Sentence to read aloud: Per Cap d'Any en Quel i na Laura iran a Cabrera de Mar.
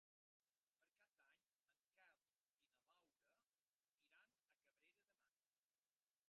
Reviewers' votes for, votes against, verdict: 1, 2, rejected